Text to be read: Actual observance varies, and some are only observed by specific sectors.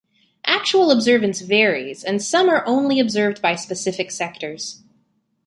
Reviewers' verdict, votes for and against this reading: accepted, 2, 0